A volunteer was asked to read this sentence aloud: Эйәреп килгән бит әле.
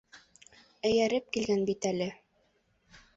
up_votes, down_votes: 1, 2